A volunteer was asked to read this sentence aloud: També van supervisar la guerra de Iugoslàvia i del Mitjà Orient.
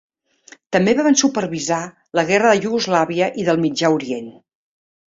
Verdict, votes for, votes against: rejected, 1, 2